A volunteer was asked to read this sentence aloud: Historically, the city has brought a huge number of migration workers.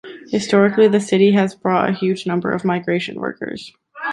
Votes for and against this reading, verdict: 0, 2, rejected